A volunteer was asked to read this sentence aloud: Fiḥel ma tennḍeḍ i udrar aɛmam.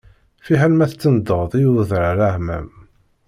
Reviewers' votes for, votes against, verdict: 1, 2, rejected